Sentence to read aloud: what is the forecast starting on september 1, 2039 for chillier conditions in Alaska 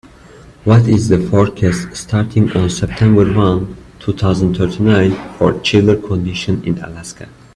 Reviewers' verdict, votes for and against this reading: rejected, 0, 2